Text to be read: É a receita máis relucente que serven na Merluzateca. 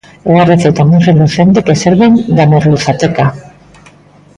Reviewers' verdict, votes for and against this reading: rejected, 1, 2